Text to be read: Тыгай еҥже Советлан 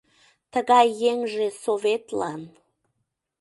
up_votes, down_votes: 2, 0